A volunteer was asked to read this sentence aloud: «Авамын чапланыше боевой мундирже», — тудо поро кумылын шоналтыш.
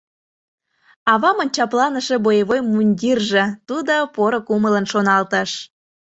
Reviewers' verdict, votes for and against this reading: accepted, 2, 0